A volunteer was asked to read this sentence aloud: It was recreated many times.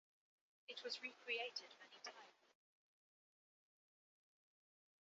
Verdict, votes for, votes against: accepted, 2, 0